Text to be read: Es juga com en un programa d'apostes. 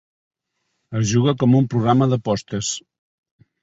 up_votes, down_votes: 0, 2